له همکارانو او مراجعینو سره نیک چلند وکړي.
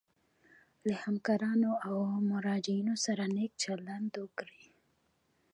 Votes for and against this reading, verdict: 0, 2, rejected